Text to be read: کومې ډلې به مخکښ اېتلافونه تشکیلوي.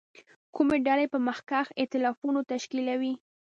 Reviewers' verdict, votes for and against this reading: accepted, 2, 0